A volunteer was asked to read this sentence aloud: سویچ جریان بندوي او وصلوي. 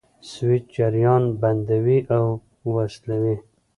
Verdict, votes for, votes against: accepted, 2, 0